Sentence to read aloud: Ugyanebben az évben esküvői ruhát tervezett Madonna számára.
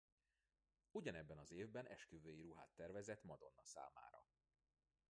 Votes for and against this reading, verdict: 0, 2, rejected